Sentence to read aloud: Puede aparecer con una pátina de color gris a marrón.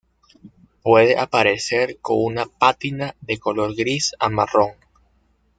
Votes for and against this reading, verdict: 2, 0, accepted